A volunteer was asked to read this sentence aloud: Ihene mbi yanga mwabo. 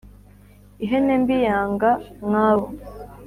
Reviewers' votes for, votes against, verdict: 3, 0, accepted